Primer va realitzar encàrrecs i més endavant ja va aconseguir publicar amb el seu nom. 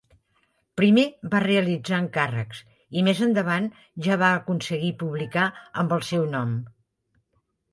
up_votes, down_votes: 8, 0